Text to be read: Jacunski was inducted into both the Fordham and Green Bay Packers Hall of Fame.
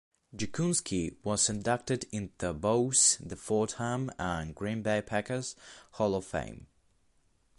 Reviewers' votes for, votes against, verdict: 2, 0, accepted